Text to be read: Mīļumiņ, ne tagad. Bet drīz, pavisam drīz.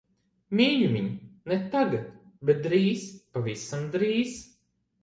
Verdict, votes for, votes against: accepted, 2, 0